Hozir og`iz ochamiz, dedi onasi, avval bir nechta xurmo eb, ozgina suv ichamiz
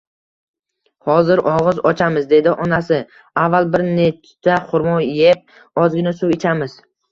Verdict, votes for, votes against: accepted, 2, 1